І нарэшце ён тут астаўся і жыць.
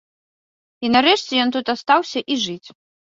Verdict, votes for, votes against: accepted, 2, 0